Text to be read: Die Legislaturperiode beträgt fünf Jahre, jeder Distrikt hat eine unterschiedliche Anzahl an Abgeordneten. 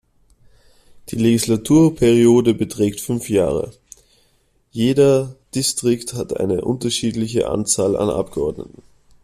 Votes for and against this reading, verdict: 2, 0, accepted